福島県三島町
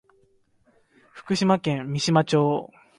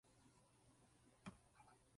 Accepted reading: first